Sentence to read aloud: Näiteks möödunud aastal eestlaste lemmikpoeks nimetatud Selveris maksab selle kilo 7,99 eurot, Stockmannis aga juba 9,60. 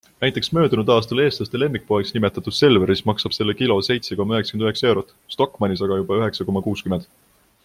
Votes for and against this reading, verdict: 0, 2, rejected